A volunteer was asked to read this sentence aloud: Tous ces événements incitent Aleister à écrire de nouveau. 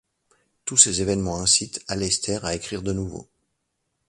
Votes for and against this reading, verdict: 2, 0, accepted